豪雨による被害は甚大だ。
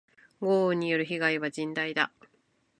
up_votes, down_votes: 3, 0